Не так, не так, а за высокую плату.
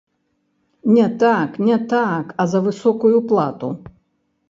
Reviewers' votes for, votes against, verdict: 1, 3, rejected